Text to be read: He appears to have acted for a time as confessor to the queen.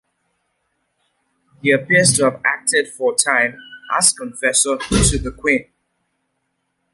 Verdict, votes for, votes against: accepted, 2, 0